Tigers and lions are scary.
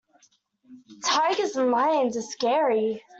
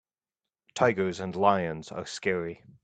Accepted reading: second